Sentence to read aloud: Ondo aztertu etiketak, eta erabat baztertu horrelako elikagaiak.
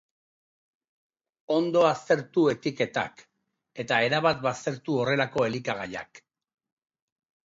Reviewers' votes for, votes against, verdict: 3, 0, accepted